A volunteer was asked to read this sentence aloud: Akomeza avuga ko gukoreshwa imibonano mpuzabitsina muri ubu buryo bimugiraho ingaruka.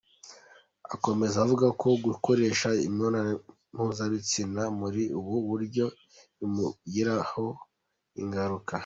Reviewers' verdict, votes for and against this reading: accepted, 2, 1